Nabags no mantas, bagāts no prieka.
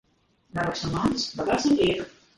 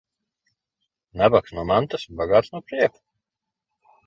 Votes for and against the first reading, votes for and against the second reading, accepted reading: 2, 5, 2, 0, second